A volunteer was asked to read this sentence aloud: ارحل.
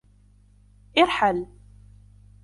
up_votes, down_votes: 0, 2